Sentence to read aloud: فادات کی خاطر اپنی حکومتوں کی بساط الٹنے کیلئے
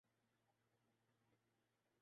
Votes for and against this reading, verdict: 0, 2, rejected